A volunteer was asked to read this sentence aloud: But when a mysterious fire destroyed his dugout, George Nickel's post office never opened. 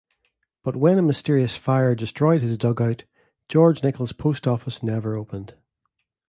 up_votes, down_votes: 2, 0